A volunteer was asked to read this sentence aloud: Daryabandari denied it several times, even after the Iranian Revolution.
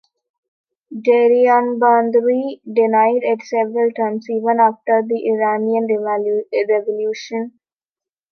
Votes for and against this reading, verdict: 0, 2, rejected